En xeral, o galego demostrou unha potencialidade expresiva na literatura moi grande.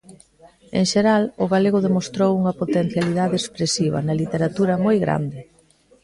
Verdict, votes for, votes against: accepted, 2, 0